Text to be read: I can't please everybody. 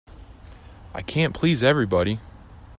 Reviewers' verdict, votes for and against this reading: accepted, 2, 0